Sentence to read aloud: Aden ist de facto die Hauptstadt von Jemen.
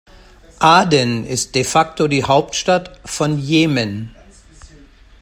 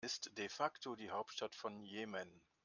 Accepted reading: first